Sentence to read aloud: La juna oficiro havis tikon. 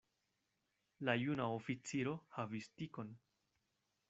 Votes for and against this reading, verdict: 2, 0, accepted